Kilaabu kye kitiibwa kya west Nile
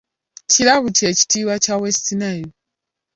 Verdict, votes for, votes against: accepted, 2, 0